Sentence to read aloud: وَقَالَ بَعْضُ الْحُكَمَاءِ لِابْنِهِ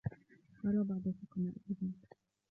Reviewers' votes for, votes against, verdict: 0, 2, rejected